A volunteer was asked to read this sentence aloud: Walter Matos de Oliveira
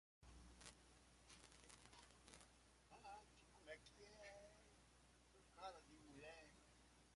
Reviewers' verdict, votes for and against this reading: rejected, 0, 2